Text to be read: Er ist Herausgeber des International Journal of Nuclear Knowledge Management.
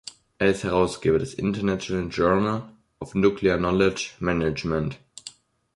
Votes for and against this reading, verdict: 2, 3, rejected